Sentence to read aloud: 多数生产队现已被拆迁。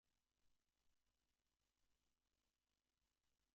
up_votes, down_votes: 0, 2